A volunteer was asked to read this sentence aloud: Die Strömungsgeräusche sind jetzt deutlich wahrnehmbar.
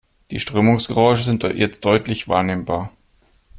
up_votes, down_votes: 2, 0